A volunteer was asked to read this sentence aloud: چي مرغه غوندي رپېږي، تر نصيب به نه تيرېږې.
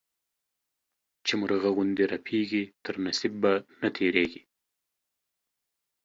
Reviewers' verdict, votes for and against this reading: accepted, 2, 0